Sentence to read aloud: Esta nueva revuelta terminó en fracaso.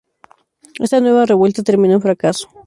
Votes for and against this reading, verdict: 2, 0, accepted